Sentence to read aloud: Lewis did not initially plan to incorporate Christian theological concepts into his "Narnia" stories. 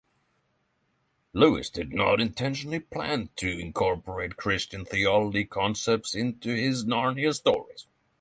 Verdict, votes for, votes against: rejected, 3, 3